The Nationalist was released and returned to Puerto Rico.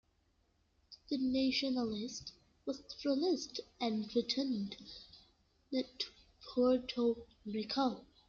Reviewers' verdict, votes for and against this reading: rejected, 0, 2